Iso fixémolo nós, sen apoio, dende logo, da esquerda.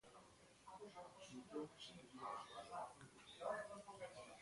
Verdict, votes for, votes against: rejected, 0, 2